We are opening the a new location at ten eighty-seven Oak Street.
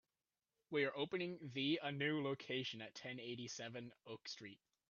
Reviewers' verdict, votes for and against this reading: accepted, 2, 0